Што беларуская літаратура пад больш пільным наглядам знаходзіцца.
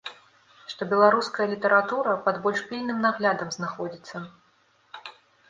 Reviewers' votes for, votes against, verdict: 2, 0, accepted